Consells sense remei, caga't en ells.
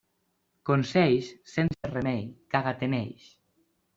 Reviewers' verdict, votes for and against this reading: accepted, 2, 0